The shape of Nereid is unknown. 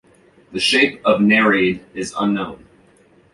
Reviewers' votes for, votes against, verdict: 2, 0, accepted